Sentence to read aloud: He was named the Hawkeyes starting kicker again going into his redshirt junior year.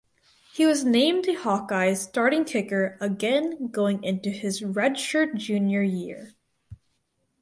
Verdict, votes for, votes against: accepted, 4, 0